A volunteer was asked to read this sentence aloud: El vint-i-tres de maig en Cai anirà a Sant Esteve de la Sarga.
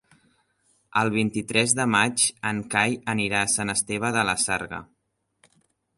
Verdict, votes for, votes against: rejected, 0, 2